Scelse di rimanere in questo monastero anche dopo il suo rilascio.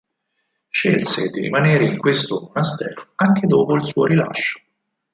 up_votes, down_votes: 4, 2